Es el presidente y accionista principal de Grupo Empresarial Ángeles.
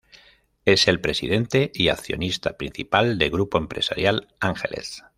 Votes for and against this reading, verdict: 2, 0, accepted